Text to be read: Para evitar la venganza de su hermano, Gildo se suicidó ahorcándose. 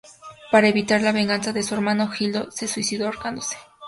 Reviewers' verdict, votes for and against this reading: accepted, 4, 0